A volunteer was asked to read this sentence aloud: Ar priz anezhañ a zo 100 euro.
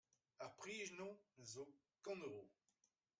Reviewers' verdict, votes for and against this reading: rejected, 0, 2